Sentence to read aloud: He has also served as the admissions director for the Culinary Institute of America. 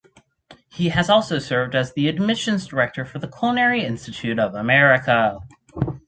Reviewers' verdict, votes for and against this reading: accepted, 4, 0